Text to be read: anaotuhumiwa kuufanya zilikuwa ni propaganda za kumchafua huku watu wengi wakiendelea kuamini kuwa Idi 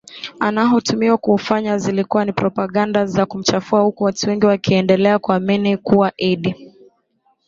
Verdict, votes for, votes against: accepted, 2, 1